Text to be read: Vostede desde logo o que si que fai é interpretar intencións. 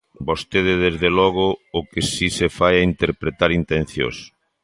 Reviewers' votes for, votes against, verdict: 0, 2, rejected